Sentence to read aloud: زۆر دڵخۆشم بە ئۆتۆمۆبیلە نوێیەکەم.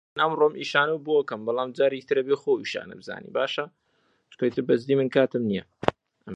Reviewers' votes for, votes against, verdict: 0, 2, rejected